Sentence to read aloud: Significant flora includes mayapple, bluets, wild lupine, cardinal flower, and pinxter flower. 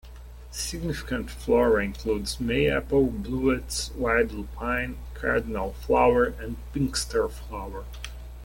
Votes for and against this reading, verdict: 2, 0, accepted